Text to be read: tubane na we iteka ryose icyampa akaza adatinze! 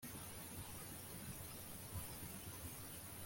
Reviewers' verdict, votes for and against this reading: rejected, 0, 2